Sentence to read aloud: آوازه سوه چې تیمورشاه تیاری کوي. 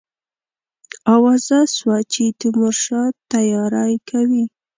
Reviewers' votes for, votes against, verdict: 2, 0, accepted